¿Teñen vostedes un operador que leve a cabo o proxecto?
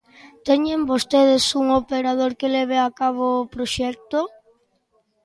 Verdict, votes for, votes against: accepted, 2, 0